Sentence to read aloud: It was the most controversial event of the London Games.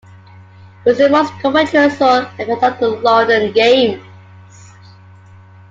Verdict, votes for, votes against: accepted, 2, 1